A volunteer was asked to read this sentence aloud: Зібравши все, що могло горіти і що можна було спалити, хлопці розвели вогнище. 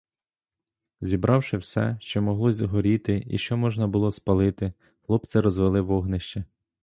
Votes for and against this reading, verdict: 0, 2, rejected